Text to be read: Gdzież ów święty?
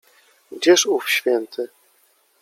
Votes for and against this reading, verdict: 2, 0, accepted